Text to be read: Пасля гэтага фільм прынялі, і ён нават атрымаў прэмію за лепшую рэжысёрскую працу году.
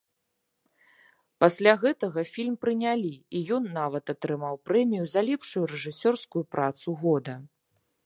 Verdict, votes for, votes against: rejected, 1, 3